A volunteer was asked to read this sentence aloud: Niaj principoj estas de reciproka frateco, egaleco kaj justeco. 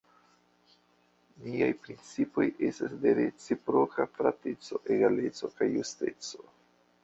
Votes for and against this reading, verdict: 0, 2, rejected